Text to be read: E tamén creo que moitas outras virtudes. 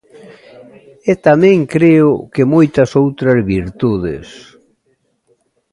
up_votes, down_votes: 2, 0